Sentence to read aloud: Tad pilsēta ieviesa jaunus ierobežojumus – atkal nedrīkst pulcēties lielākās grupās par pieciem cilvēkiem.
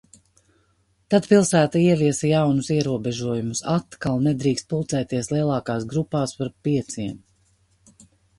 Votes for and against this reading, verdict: 0, 2, rejected